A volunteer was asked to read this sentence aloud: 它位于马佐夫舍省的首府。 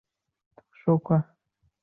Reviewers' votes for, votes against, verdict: 0, 2, rejected